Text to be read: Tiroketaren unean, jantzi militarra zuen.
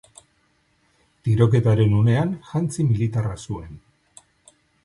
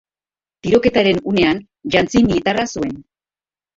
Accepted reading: first